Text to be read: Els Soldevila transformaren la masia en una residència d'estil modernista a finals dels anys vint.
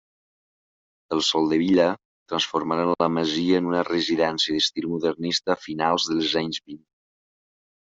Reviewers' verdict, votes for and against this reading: rejected, 1, 2